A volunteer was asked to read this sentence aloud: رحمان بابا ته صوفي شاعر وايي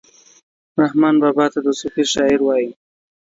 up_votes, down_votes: 2, 1